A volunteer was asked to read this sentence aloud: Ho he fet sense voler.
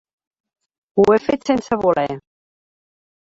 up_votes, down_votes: 2, 4